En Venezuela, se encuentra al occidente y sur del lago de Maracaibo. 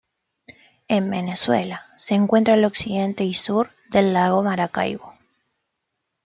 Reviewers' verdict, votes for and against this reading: rejected, 1, 2